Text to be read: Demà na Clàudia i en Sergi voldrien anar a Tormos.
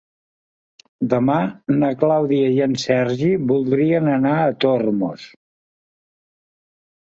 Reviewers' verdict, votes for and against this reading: accepted, 3, 0